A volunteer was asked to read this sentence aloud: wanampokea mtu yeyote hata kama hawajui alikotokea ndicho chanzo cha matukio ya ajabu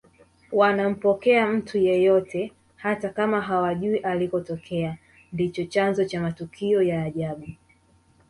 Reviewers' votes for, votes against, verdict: 1, 2, rejected